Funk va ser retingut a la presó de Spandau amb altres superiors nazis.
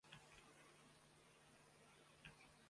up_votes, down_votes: 0, 2